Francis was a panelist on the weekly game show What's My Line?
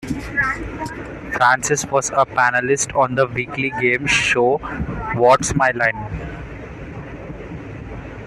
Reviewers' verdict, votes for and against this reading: accepted, 2, 0